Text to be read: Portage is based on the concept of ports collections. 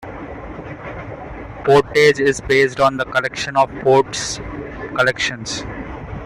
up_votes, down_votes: 0, 2